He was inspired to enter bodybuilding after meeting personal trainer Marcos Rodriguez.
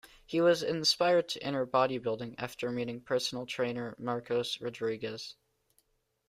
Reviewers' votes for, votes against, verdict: 2, 0, accepted